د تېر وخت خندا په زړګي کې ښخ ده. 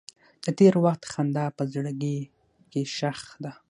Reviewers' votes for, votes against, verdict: 6, 3, accepted